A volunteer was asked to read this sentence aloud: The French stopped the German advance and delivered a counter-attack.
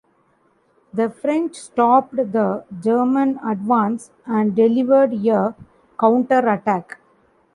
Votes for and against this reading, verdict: 1, 2, rejected